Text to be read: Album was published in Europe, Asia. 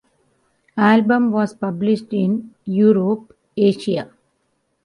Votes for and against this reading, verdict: 1, 3, rejected